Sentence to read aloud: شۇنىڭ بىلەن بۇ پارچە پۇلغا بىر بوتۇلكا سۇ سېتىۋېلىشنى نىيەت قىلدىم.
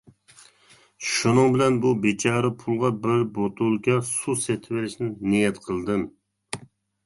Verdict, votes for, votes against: rejected, 0, 2